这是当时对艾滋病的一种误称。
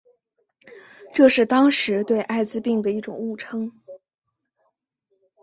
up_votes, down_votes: 2, 0